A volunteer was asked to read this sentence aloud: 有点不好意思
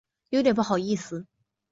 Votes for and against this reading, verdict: 2, 0, accepted